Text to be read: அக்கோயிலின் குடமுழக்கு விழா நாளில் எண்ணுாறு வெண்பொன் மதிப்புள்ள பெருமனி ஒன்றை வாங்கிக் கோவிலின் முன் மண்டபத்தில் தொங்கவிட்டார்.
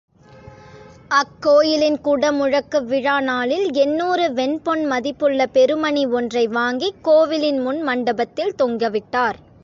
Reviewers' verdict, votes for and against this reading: accepted, 2, 0